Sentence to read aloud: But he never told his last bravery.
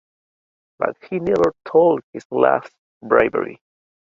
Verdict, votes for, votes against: accepted, 2, 0